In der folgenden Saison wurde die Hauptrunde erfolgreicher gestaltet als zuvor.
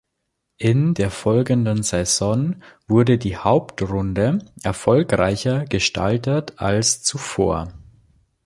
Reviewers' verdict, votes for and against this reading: accepted, 2, 0